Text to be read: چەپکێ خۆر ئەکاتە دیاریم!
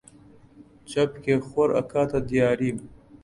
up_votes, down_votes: 2, 0